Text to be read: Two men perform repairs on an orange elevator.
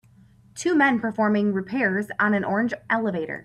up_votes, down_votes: 2, 4